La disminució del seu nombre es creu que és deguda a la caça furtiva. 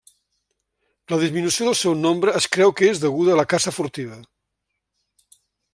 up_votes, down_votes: 2, 0